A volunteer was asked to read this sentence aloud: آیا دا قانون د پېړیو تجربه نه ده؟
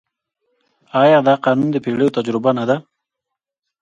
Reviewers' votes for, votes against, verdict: 1, 2, rejected